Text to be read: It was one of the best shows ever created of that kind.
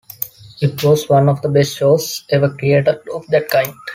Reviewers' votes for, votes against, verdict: 2, 0, accepted